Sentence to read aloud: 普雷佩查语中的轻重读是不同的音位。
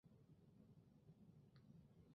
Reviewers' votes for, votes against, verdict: 1, 2, rejected